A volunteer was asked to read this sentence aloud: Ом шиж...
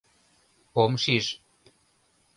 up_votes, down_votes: 2, 0